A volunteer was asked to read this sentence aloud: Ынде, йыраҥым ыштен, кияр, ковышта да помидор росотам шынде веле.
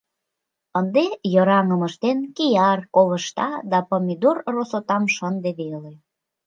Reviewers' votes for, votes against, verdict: 2, 0, accepted